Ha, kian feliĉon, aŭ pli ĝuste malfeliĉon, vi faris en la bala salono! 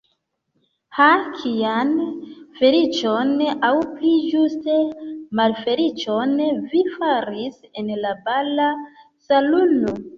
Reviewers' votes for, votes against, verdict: 0, 2, rejected